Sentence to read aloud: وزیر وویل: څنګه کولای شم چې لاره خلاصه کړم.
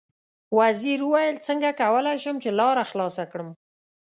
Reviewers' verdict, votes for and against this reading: accepted, 2, 0